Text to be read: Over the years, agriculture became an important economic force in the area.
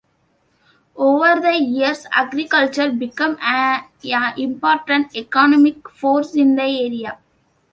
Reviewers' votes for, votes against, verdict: 2, 1, accepted